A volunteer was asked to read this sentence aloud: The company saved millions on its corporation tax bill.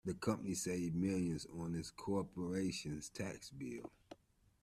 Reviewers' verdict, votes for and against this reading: rejected, 0, 2